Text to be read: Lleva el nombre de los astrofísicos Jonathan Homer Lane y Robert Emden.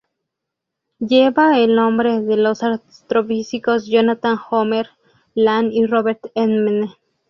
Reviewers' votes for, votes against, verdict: 0, 2, rejected